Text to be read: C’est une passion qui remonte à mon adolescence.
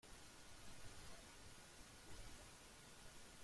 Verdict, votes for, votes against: rejected, 0, 2